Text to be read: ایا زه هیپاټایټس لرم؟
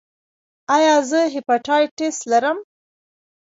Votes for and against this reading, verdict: 0, 2, rejected